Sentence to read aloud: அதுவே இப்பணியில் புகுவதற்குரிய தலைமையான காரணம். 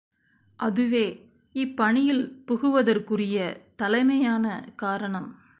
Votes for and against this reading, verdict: 2, 1, accepted